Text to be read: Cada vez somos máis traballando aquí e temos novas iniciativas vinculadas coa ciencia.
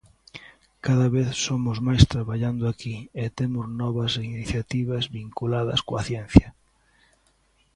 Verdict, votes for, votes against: accepted, 2, 0